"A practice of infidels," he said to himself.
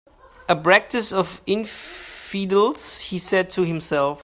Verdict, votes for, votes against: rejected, 0, 2